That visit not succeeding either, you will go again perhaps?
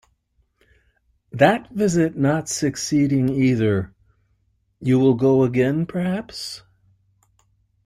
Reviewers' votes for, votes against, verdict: 2, 0, accepted